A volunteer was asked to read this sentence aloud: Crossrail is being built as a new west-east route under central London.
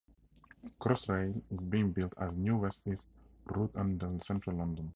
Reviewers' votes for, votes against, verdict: 4, 2, accepted